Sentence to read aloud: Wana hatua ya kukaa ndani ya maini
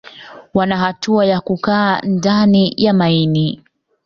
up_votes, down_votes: 2, 0